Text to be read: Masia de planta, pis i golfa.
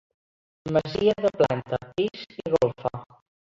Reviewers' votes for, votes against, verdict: 0, 2, rejected